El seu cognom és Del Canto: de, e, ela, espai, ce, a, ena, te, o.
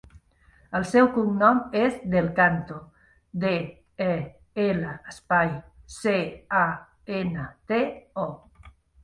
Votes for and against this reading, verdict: 3, 0, accepted